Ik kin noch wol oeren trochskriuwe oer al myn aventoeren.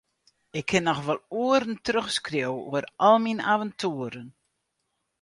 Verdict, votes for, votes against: accepted, 4, 0